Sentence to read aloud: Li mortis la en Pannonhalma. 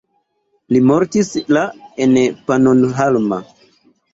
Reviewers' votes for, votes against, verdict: 3, 0, accepted